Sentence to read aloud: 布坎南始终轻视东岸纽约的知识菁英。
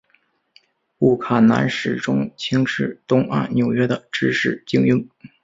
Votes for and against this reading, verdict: 3, 0, accepted